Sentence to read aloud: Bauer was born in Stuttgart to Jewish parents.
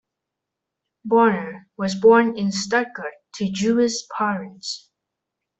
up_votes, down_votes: 1, 2